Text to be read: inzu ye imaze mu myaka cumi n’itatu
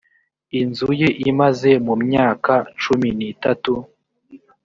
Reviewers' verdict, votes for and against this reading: accepted, 2, 0